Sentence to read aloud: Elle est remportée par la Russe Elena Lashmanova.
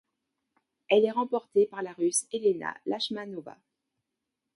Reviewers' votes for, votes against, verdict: 2, 0, accepted